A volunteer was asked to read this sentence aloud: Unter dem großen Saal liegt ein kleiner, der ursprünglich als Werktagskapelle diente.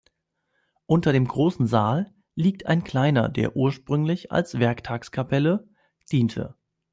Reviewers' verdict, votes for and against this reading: accepted, 2, 1